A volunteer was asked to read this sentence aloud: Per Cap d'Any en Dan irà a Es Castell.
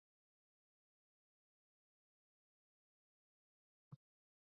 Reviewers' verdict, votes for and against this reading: rejected, 0, 2